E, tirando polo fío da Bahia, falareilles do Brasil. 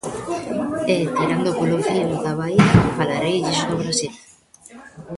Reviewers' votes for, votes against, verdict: 0, 2, rejected